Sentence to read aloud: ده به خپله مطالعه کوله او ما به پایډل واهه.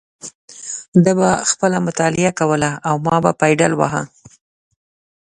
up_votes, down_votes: 2, 0